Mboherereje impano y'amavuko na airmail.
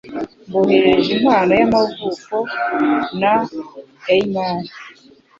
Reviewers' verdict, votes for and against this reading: accepted, 2, 0